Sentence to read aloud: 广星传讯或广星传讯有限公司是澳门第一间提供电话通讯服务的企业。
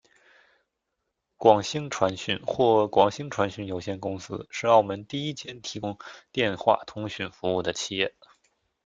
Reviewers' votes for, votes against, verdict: 2, 0, accepted